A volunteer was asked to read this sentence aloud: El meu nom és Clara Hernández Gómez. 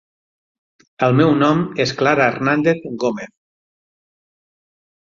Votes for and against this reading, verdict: 9, 0, accepted